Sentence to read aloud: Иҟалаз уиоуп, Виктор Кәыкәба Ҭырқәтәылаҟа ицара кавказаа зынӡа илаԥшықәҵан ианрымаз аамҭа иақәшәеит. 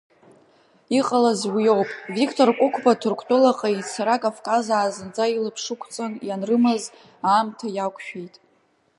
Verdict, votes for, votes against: accepted, 2, 1